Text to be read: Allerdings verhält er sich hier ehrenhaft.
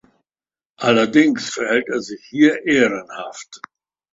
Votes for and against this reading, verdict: 2, 0, accepted